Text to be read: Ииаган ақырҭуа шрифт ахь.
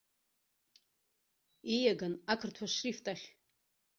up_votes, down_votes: 2, 0